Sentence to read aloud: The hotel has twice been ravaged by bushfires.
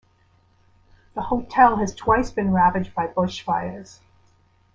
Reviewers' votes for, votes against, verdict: 2, 0, accepted